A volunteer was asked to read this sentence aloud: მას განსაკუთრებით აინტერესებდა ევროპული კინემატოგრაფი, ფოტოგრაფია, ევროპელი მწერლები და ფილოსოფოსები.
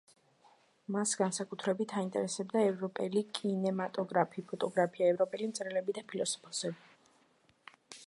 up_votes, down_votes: 2, 1